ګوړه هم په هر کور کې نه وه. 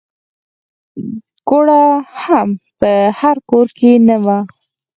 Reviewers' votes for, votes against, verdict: 4, 0, accepted